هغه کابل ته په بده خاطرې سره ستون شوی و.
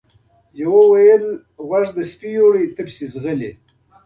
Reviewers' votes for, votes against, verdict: 0, 2, rejected